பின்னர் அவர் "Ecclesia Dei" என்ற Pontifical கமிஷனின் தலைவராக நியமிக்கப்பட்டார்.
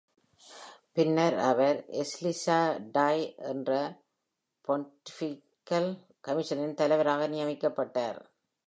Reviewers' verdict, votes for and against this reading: rejected, 1, 2